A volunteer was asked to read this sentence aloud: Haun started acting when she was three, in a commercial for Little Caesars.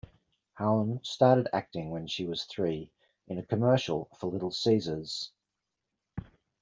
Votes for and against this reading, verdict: 2, 0, accepted